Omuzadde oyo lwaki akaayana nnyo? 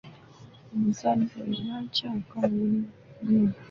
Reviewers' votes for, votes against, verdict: 0, 2, rejected